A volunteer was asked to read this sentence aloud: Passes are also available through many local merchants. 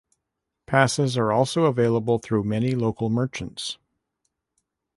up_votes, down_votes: 2, 0